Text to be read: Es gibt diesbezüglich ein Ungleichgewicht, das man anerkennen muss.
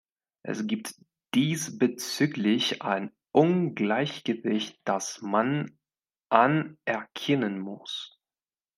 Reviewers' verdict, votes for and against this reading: accepted, 2, 0